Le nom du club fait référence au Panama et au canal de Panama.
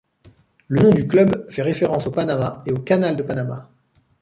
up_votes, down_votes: 2, 0